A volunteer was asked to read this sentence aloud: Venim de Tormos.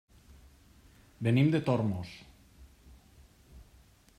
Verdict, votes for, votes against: accepted, 3, 0